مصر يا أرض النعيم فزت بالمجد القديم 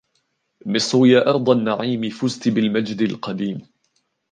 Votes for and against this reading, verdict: 2, 0, accepted